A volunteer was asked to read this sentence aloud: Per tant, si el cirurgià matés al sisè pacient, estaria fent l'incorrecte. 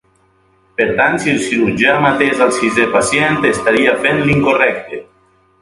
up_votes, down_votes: 2, 0